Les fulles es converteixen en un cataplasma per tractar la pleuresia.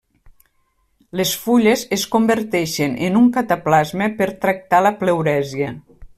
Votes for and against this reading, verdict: 3, 0, accepted